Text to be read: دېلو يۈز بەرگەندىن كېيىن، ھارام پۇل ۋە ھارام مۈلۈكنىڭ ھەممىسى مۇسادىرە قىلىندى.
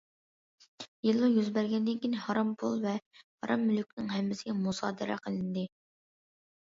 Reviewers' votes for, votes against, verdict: 2, 0, accepted